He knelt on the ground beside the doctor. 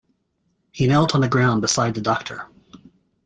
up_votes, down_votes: 2, 0